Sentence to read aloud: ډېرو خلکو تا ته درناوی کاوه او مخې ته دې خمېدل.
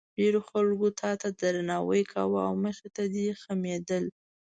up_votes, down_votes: 2, 0